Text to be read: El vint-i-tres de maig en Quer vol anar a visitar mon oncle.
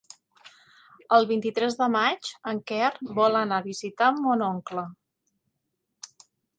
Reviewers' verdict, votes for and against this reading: accepted, 4, 0